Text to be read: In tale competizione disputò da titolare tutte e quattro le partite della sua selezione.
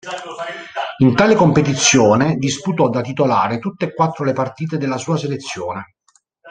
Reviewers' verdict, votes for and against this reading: accepted, 2, 0